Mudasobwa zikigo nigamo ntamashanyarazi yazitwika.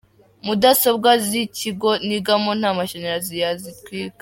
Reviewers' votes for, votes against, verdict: 2, 0, accepted